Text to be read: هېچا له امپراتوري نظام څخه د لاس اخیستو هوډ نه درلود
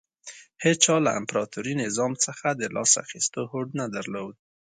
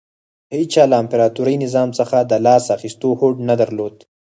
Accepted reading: first